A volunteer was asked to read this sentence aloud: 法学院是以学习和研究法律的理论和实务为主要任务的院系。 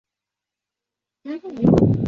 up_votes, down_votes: 1, 2